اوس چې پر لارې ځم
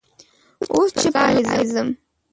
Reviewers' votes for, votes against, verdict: 2, 3, rejected